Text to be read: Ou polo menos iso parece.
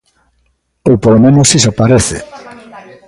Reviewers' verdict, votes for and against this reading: rejected, 1, 2